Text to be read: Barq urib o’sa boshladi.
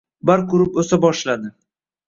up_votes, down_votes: 0, 2